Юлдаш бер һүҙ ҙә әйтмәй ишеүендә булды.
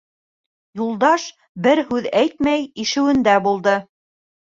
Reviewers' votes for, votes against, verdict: 1, 2, rejected